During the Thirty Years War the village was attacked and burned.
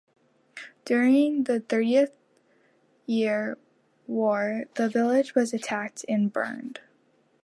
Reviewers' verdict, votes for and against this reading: accepted, 2, 0